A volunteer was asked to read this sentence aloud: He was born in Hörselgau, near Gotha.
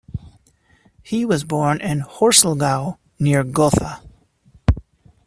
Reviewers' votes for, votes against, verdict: 1, 2, rejected